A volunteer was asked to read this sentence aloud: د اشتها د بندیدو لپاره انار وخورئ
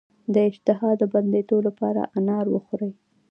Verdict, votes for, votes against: accepted, 2, 0